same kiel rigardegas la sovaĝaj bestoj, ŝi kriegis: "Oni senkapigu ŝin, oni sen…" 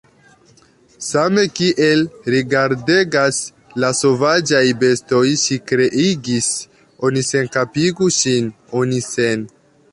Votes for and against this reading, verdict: 2, 0, accepted